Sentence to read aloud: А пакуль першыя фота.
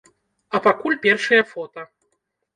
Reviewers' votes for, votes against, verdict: 1, 2, rejected